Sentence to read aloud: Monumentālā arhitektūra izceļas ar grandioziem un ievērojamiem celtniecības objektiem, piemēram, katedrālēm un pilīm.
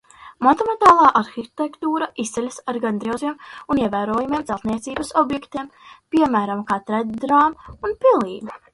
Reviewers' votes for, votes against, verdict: 0, 2, rejected